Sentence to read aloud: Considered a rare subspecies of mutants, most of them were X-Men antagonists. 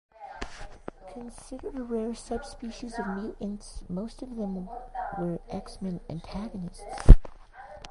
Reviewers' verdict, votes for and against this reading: rejected, 0, 2